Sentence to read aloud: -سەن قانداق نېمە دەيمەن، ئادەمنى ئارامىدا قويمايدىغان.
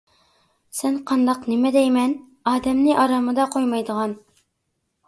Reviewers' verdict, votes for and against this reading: accepted, 2, 0